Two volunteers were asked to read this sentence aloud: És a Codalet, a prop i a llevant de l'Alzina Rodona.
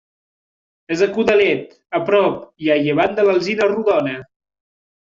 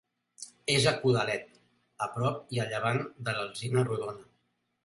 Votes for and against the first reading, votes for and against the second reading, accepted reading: 1, 2, 2, 0, second